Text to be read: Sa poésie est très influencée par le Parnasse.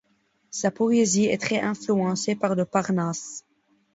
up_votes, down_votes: 0, 2